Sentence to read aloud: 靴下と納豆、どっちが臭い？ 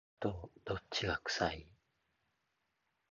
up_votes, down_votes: 1, 2